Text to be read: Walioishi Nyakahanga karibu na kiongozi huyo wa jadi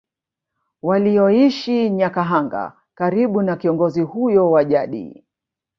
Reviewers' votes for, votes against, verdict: 0, 2, rejected